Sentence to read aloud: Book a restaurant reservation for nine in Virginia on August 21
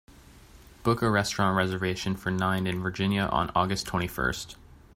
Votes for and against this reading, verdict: 0, 2, rejected